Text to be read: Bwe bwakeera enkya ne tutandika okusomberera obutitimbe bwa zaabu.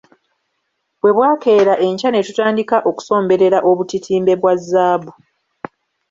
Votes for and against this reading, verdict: 2, 0, accepted